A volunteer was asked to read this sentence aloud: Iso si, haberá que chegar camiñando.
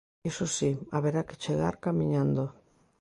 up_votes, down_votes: 2, 0